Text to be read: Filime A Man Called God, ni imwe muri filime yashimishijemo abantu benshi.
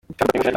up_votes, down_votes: 0, 2